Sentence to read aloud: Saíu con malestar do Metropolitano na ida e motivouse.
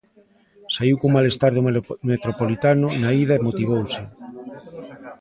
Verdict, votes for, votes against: rejected, 1, 2